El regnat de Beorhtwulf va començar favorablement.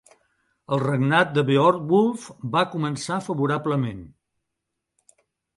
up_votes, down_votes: 3, 2